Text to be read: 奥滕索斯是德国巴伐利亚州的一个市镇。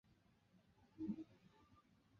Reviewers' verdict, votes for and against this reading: rejected, 1, 3